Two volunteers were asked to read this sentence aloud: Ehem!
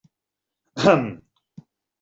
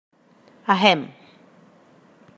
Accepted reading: first